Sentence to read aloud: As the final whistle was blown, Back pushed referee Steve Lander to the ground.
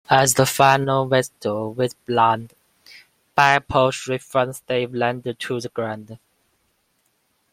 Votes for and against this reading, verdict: 1, 2, rejected